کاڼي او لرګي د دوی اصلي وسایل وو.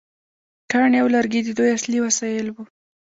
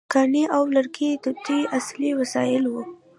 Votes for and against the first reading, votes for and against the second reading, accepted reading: 2, 0, 0, 2, first